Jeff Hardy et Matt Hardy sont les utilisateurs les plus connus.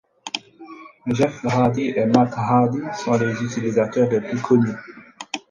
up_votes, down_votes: 2, 4